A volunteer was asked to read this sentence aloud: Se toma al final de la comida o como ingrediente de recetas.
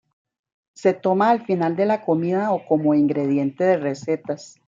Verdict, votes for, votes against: rejected, 1, 2